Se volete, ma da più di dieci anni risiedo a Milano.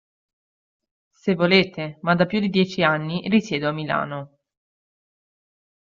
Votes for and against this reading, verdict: 2, 0, accepted